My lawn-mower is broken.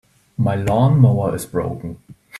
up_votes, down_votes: 2, 0